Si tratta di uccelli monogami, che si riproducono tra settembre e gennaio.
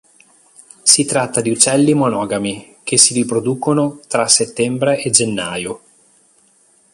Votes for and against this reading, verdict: 2, 0, accepted